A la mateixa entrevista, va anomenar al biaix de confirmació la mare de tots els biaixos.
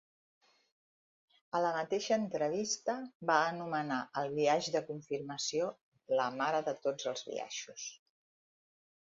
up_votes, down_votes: 2, 0